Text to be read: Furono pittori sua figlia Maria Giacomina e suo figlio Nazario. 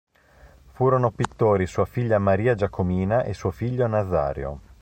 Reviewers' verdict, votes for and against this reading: accepted, 2, 0